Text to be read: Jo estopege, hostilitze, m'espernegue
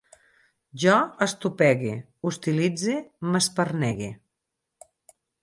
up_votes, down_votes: 2, 4